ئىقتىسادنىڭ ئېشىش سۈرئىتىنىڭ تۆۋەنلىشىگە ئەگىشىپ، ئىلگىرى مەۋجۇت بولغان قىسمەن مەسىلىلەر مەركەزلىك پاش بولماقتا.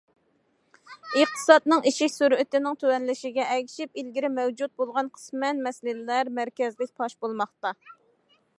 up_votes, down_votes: 2, 1